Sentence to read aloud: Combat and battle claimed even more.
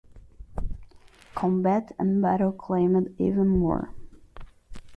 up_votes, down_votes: 0, 2